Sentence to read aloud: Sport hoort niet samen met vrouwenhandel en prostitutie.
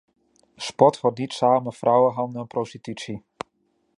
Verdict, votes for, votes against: rejected, 0, 2